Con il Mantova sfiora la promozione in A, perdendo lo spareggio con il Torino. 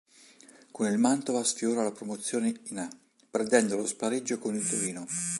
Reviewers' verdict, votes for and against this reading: accepted, 3, 0